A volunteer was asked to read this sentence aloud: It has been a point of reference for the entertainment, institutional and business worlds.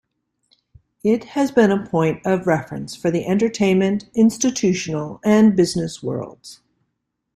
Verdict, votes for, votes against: accepted, 2, 0